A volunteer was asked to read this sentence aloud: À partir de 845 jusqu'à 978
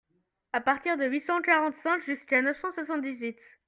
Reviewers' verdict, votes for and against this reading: rejected, 0, 2